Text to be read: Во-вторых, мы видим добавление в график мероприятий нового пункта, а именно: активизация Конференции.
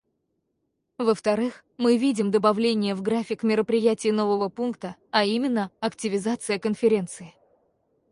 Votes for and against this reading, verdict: 0, 4, rejected